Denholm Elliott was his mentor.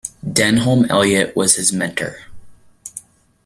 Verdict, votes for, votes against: accepted, 2, 0